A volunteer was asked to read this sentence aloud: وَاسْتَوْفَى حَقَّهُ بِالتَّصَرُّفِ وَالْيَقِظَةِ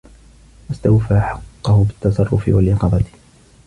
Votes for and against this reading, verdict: 2, 0, accepted